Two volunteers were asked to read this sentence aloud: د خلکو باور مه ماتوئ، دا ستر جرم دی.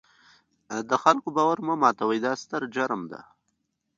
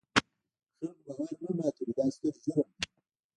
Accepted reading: first